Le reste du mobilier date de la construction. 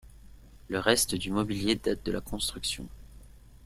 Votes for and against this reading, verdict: 2, 0, accepted